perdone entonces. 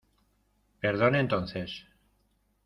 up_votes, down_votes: 2, 0